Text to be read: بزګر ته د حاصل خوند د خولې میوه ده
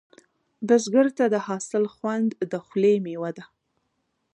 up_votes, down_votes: 3, 0